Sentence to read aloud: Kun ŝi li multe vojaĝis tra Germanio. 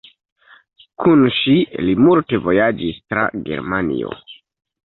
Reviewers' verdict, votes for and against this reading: rejected, 0, 2